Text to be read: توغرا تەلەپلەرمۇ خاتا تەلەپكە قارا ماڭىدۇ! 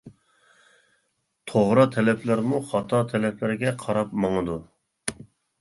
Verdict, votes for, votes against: rejected, 0, 2